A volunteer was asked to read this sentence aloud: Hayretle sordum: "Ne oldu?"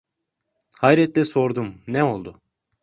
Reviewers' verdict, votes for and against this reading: accepted, 2, 0